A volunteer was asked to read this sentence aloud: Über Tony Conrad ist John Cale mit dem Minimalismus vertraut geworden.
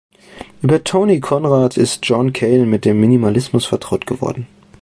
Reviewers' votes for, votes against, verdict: 2, 1, accepted